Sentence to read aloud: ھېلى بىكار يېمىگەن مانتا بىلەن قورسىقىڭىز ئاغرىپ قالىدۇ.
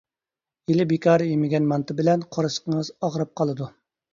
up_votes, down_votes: 2, 0